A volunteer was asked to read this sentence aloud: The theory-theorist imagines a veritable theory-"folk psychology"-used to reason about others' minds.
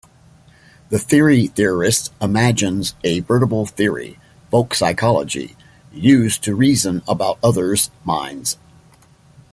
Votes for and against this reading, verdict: 2, 0, accepted